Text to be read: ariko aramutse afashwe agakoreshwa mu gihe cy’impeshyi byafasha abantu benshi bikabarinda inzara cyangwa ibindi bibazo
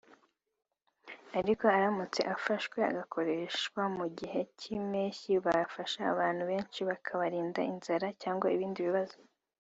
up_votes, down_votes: 2, 0